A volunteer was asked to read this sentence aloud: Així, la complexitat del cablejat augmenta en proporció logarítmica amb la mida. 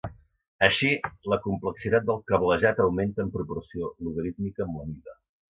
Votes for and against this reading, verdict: 2, 0, accepted